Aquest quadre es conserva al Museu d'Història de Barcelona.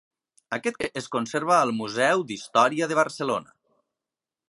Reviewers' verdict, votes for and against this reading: rejected, 0, 2